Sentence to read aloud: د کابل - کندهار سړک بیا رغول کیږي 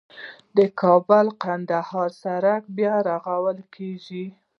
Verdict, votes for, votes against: rejected, 0, 2